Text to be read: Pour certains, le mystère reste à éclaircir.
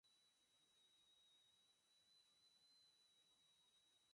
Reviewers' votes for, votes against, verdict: 0, 4, rejected